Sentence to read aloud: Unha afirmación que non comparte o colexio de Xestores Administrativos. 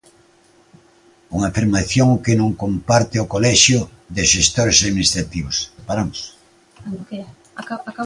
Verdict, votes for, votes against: rejected, 0, 2